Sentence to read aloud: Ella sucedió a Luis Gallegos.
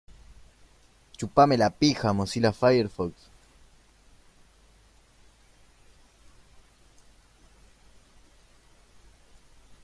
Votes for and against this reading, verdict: 0, 2, rejected